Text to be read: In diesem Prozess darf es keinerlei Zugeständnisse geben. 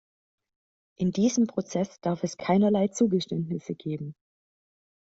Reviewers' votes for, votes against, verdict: 2, 0, accepted